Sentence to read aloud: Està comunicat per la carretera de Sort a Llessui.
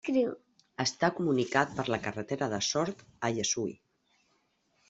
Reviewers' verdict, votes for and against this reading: accepted, 2, 0